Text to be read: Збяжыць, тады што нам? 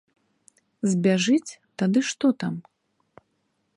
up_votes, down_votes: 1, 3